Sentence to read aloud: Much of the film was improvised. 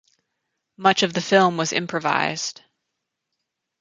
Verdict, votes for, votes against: accepted, 6, 0